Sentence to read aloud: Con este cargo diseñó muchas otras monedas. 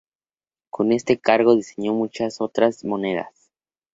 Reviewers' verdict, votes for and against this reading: accepted, 4, 2